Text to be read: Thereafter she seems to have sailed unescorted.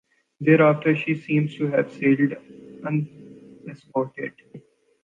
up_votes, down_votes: 1, 2